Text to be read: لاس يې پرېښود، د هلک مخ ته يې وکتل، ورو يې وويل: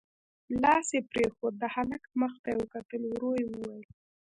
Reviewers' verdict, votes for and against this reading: accepted, 2, 1